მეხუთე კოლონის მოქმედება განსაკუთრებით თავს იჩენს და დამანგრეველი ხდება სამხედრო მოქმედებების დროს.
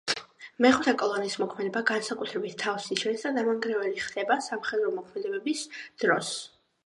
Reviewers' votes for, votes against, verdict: 2, 0, accepted